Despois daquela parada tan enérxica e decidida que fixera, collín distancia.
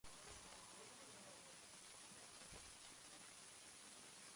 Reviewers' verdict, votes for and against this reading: rejected, 0, 2